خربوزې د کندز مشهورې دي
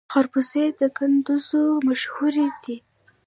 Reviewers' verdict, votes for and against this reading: rejected, 0, 2